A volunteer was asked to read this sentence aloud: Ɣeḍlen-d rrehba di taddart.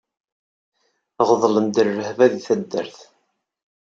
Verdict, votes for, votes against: accepted, 4, 0